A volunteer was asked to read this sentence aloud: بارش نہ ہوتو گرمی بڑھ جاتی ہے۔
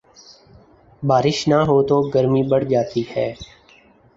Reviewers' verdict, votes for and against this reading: accepted, 4, 0